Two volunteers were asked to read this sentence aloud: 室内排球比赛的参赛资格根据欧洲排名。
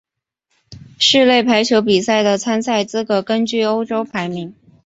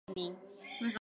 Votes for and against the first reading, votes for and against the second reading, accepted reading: 2, 1, 0, 3, first